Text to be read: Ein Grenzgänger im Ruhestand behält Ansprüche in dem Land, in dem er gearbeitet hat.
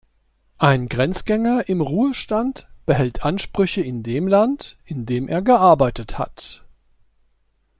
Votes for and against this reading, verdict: 2, 0, accepted